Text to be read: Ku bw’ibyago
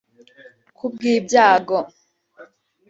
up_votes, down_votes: 4, 1